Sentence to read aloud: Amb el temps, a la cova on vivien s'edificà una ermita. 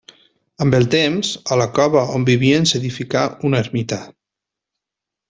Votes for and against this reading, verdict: 3, 1, accepted